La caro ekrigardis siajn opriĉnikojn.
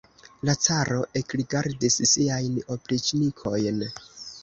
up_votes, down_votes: 2, 1